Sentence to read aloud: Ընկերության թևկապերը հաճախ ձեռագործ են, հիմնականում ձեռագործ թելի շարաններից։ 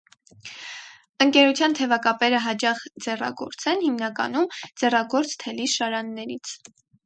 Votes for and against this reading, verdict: 2, 4, rejected